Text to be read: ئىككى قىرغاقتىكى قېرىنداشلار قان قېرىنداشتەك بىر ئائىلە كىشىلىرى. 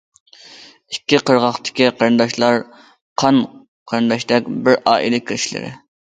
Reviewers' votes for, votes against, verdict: 2, 0, accepted